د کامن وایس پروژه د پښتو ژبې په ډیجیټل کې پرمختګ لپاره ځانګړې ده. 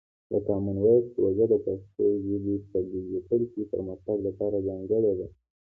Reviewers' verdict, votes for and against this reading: accepted, 2, 1